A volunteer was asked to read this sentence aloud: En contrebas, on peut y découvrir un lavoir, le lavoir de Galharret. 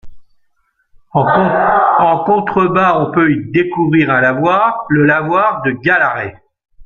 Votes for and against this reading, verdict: 0, 2, rejected